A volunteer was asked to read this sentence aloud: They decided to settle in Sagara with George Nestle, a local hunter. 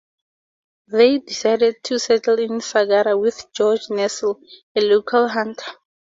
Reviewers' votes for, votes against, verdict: 2, 0, accepted